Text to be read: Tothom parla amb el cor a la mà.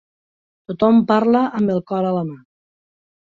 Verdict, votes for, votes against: accepted, 2, 0